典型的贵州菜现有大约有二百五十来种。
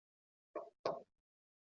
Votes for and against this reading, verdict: 0, 7, rejected